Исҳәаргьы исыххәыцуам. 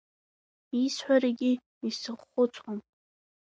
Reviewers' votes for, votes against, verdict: 0, 2, rejected